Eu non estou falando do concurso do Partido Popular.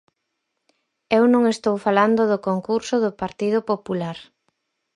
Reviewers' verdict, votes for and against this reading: accepted, 4, 0